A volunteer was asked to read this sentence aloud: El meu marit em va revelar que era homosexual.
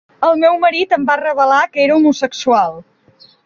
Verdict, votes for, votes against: accepted, 2, 0